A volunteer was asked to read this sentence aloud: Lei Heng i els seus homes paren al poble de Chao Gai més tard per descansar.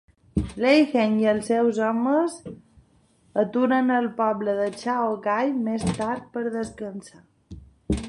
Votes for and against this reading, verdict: 0, 2, rejected